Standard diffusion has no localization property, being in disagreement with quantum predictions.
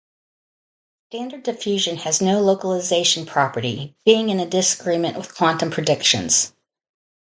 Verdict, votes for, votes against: rejected, 2, 2